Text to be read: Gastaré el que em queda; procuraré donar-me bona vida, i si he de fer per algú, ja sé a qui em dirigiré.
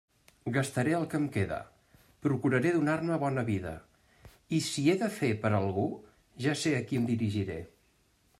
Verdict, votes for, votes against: accepted, 2, 0